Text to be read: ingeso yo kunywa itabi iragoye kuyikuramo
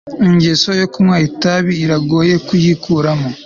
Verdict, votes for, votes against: accepted, 2, 0